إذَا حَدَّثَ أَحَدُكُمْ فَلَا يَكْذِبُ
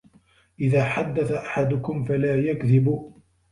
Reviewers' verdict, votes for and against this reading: accepted, 2, 0